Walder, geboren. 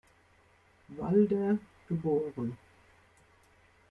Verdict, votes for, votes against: accepted, 2, 0